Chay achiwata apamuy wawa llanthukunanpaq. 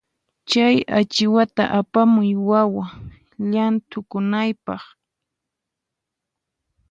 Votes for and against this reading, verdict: 2, 4, rejected